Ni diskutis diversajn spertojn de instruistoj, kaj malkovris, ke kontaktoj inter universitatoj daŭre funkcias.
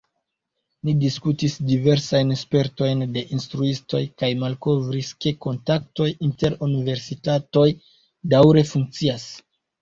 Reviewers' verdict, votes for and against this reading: accepted, 2, 0